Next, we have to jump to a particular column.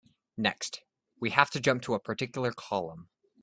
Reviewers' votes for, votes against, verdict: 2, 0, accepted